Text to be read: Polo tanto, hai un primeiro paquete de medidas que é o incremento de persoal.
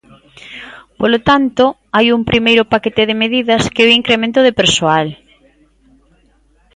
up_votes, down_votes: 2, 1